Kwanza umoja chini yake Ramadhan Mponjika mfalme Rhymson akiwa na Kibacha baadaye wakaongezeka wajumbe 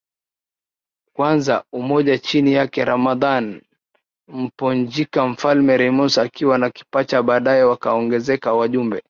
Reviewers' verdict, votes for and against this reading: accepted, 5, 0